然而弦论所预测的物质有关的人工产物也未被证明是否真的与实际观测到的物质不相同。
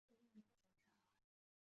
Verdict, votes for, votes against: rejected, 0, 2